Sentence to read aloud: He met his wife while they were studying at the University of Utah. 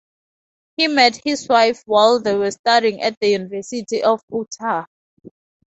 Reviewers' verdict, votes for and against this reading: accepted, 2, 0